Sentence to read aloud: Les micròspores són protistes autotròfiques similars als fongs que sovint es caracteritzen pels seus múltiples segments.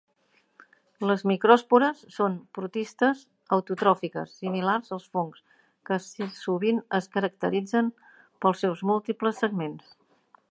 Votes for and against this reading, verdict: 2, 0, accepted